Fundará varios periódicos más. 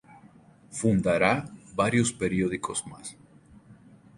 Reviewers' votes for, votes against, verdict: 2, 2, rejected